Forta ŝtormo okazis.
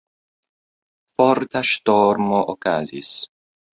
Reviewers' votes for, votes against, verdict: 2, 1, accepted